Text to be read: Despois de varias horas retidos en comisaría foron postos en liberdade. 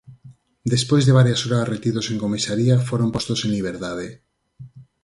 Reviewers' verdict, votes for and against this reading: accepted, 4, 0